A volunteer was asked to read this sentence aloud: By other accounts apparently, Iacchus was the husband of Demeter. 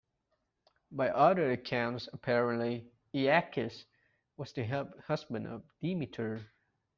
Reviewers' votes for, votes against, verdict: 1, 2, rejected